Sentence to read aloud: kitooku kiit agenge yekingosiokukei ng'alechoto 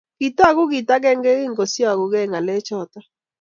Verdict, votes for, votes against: accepted, 2, 0